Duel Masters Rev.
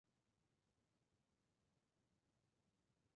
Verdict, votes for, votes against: rejected, 0, 2